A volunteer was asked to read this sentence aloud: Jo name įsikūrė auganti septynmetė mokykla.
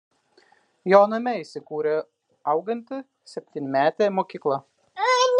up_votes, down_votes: 0, 2